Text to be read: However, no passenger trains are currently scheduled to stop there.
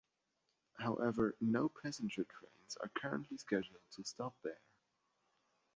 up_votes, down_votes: 2, 0